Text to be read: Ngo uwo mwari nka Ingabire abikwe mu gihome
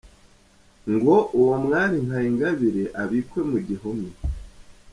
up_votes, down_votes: 2, 0